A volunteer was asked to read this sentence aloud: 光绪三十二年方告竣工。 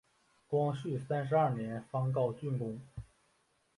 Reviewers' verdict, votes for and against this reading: accepted, 2, 1